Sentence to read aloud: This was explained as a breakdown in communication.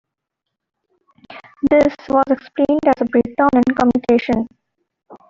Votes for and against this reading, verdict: 2, 0, accepted